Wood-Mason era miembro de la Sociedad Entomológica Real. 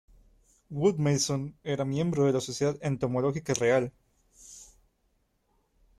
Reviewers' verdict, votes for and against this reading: accepted, 2, 1